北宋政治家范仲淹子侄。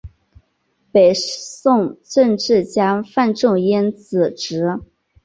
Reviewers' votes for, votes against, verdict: 2, 0, accepted